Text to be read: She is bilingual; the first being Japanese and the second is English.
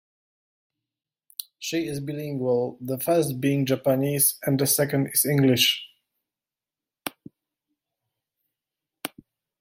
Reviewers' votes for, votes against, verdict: 2, 1, accepted